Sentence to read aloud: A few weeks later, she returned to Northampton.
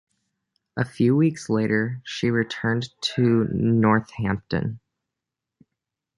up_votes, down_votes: 2, 1